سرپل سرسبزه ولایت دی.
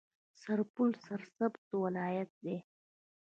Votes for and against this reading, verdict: 2, 1, accepted